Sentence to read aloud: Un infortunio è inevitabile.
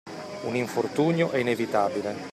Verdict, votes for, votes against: accepted, 2, 0